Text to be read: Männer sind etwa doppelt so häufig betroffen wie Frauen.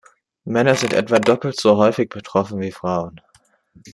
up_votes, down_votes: 2, 0